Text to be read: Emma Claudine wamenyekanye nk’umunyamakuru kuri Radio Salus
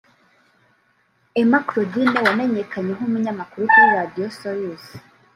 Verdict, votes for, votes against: accepted, 2, 0